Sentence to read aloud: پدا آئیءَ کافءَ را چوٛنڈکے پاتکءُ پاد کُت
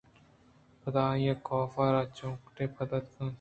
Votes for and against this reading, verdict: 0, 2, rejected